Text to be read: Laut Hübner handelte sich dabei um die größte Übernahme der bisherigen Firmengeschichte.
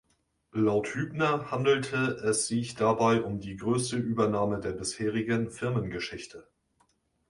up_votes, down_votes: 1, 2